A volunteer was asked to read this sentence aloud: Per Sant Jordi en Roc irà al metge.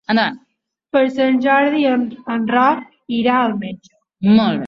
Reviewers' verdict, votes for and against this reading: rejected, 1, 2